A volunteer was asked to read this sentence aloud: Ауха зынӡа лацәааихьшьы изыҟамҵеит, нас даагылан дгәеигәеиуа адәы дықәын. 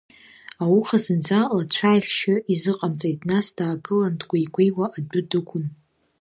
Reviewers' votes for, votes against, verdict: 2, 0, accepted